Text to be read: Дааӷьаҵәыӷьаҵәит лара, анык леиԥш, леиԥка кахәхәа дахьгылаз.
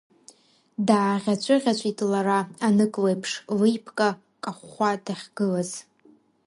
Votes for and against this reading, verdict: 2, 0, accepted